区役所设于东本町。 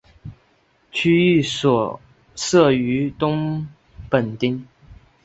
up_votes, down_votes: 4, 0